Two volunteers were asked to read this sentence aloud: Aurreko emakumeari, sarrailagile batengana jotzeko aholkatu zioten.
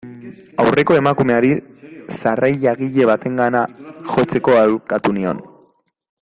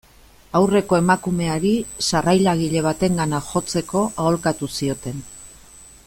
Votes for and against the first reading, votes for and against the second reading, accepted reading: 1, 2, 2, 0, second